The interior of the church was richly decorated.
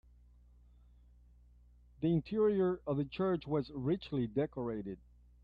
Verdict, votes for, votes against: accepted, 2, 0